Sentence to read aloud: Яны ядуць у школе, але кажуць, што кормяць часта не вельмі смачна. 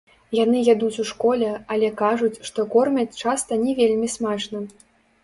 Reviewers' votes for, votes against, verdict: 1, 3, rejected